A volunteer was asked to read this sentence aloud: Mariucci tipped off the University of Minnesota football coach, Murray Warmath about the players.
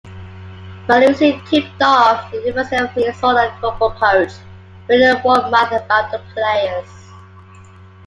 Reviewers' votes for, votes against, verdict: 2, 3, rejected